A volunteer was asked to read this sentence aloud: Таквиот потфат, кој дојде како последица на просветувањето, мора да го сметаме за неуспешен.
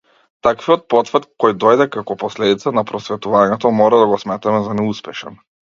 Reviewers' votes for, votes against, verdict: 2, 0, accepted